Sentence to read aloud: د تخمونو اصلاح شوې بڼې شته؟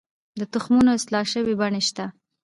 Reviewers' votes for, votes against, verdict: 2, 0, accepted